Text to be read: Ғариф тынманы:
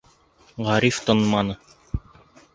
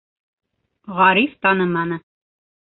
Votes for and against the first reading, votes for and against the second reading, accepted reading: 2, 0, 0, 2, first